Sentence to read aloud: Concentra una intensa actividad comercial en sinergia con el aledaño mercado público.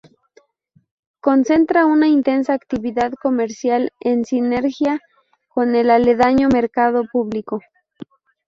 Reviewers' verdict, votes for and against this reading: rejected, 0, 2